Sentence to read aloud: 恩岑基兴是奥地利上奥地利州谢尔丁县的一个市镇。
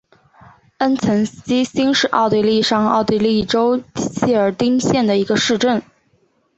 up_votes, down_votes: 3, 0